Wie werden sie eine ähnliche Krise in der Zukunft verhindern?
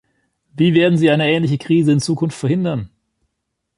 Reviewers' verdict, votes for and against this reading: rejected, 2, 3